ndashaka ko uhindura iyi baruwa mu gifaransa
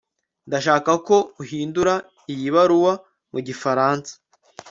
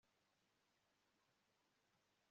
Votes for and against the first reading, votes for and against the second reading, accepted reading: 2, 0, 0, 2, first